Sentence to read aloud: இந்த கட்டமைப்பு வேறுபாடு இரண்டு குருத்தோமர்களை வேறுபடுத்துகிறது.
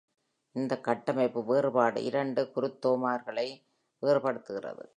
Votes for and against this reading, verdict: 2, 1, accepted